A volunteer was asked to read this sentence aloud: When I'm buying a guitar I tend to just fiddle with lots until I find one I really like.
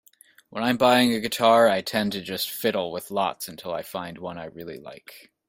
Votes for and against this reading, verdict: 2, 0, accepted